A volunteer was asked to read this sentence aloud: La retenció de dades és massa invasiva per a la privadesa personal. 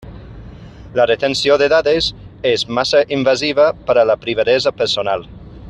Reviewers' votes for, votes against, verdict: 1, 2, rejected